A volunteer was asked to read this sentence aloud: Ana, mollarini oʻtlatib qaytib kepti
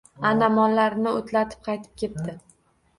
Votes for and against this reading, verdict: 2, 0, accepted